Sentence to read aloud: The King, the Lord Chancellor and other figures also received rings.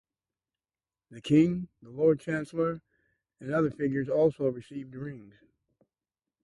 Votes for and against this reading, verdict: 2, 0, accepted